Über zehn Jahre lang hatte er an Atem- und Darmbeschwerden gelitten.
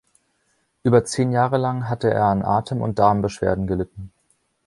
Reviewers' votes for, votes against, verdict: 2, 0, accepted